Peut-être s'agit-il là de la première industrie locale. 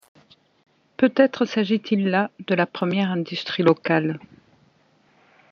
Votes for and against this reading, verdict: 2, 0, accepted